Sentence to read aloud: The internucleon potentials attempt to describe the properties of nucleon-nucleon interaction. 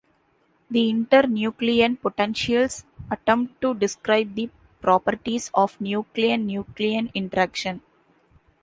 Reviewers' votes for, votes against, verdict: 2, 1, accepted